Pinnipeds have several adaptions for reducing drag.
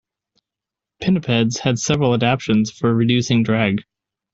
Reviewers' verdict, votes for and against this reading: accepted, 2, 0